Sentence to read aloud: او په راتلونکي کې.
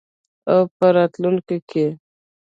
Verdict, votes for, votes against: rejected, 1, 2